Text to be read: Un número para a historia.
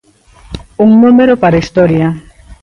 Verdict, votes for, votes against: accepted, 2, 1